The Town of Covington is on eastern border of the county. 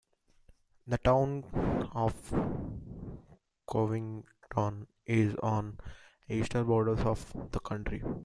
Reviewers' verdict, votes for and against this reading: rejected, 0, 2